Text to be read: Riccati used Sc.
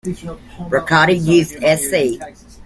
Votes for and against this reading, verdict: 2, 1, accepted